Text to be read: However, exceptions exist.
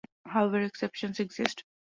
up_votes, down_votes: 2, 1